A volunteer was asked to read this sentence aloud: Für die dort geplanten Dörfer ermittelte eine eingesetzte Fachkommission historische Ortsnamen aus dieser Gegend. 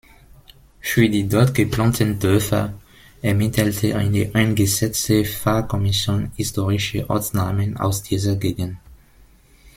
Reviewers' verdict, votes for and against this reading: rejected, 1, 2